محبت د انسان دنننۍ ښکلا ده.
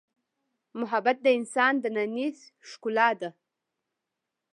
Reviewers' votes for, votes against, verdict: 0, 2, rejected